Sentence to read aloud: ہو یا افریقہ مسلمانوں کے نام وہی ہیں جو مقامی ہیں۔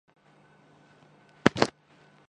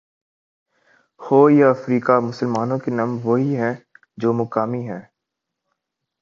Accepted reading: second